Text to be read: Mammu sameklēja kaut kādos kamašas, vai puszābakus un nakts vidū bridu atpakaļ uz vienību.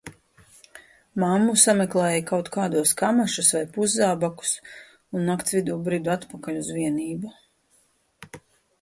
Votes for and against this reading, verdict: 2, 0, accepted